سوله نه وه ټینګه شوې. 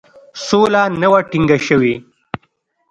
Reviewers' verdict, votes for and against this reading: accepted, 2, 0